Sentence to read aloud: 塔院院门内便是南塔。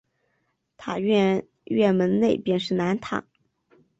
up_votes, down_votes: 2, 1